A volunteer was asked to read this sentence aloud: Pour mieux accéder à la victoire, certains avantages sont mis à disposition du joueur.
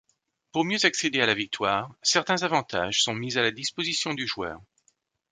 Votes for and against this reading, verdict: 1, 2, rejected